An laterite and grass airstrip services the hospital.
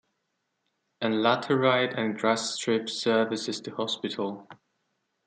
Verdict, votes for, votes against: rejected, 0, 2